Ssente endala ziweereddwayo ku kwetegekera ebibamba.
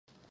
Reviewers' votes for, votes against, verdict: 0, 2, rejected